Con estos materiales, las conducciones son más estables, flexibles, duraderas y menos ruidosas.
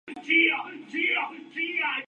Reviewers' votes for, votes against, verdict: 0, 2, rejected